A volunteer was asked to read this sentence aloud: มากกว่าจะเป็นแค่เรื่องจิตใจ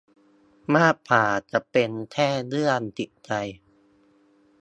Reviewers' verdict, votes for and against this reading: rejected, 1, 2